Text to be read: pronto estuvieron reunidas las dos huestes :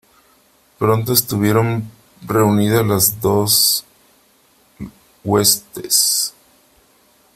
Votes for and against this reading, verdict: 2, 3, rejected